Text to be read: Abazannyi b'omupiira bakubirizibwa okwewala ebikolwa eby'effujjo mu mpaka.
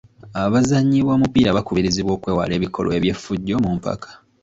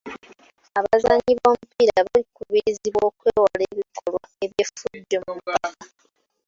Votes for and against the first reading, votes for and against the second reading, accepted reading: 2, 0, 1, 2, first